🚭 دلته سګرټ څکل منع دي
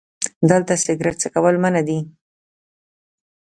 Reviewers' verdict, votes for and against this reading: accepted, 2, 0